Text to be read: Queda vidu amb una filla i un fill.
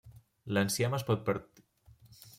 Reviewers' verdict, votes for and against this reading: rejected, 0, 2